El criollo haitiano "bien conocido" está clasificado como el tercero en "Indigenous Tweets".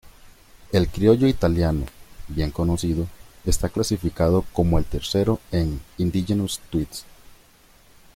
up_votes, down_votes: 0, 2